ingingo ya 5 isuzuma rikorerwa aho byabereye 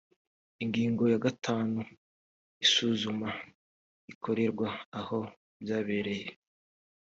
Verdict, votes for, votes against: rejected, 0, 2